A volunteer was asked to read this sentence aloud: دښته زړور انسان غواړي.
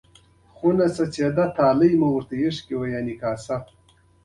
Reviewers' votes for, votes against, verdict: 2, 1, accepted